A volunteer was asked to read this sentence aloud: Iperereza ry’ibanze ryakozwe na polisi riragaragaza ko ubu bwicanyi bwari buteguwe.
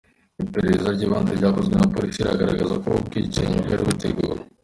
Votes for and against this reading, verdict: 2, 0, accepted